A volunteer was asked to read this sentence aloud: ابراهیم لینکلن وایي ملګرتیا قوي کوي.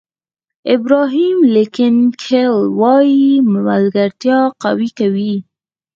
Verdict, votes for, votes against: accepted, 4, 2